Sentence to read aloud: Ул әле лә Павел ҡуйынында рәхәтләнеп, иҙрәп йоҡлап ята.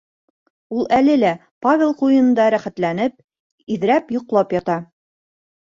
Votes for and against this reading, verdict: 2, 0, accepted